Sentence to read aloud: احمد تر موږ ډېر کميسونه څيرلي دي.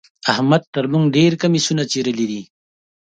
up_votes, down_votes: 2, 0